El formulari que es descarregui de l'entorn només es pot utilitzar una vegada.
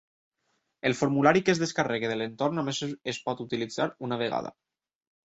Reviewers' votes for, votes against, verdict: 0, 2, rejected